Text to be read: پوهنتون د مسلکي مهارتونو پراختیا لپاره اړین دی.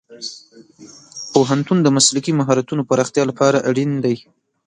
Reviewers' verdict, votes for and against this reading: rejected, 1, 2